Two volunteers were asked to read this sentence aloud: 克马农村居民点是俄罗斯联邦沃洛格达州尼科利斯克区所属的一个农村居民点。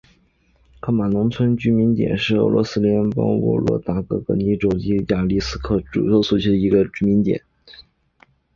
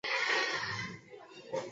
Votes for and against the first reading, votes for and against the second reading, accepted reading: 3, 2, 1, 2, first